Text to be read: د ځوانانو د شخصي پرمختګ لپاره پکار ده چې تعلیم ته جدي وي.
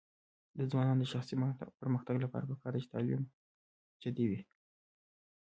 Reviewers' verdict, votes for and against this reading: accepted, 2, 1